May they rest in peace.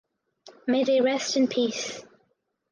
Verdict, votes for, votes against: accepted, 4, 0